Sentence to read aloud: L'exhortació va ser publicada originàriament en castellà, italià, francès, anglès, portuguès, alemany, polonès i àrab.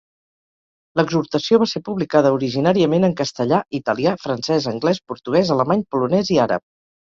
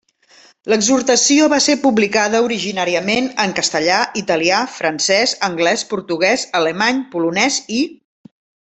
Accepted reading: first